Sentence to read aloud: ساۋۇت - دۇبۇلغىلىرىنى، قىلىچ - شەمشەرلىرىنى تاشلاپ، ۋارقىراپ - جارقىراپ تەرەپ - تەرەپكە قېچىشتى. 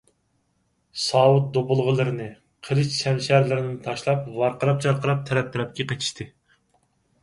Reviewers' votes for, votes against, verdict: 4, 0, accepted